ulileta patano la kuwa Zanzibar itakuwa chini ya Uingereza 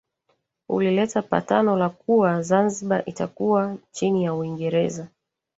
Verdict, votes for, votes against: rejected, 1, 2